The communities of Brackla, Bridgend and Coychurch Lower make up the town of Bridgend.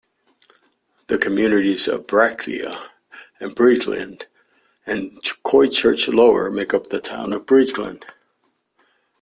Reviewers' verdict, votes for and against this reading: rejected, 0, 2